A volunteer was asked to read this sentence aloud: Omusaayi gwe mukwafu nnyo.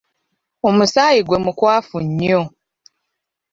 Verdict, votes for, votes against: accepted, 2, 0